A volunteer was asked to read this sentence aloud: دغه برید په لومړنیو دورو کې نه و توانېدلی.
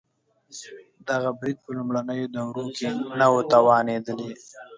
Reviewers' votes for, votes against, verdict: 3, 1, accepted